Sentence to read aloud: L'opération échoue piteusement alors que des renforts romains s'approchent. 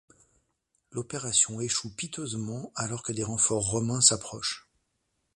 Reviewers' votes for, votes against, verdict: 2, 0, accepted